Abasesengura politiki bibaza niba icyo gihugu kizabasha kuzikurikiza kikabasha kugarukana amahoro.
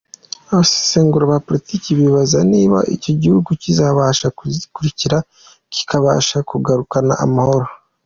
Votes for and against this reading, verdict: 2, 1, accepted